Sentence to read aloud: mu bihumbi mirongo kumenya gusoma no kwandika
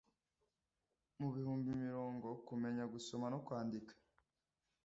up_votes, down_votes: 2, 0